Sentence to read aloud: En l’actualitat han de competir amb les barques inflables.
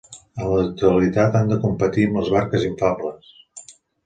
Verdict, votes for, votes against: accepted, 2, 0